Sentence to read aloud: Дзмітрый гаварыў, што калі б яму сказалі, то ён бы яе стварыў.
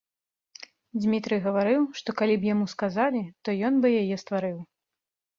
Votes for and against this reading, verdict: 2, 0, accepted